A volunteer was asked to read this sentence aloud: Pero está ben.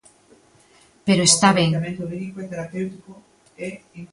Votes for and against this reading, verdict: 0, 2, rejected